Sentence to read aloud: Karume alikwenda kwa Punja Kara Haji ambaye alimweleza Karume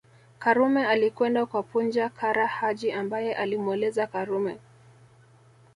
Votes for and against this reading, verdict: 2, 1, accepted